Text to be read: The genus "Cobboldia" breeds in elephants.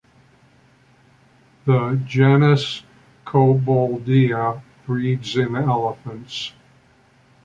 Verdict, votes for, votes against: accepted, 2, 0